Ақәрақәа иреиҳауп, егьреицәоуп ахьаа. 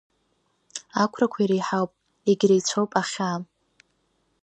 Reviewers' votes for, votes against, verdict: 2, 0, accepted